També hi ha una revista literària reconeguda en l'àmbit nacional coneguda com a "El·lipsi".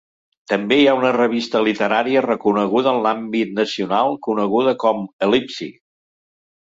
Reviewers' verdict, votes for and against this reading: accepted, 2, 0